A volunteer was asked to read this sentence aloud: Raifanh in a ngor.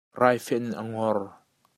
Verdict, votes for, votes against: rejected, 1, 2